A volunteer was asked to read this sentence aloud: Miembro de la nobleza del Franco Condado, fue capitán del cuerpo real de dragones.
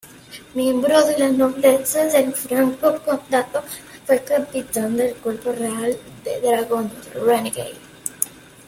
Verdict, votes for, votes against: rejected, 0, 2